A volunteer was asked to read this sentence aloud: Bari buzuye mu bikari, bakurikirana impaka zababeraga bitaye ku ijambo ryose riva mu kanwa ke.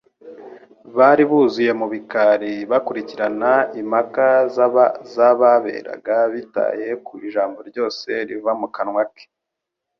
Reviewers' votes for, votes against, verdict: 1, 2, rejected